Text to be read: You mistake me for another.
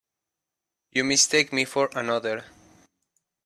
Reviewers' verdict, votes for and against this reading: accepted, 2, 0